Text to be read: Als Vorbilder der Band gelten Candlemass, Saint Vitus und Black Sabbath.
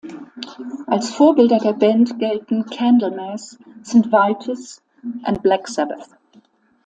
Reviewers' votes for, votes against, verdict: 2, 0, accepted